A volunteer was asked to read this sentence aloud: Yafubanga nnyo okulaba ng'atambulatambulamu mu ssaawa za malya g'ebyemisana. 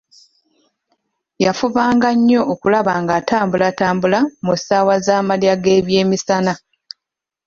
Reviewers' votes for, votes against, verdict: 1, 2, rejected